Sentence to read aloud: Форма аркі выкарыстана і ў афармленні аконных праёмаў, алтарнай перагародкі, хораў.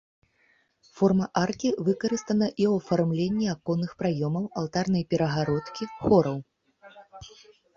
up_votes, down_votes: 2, 0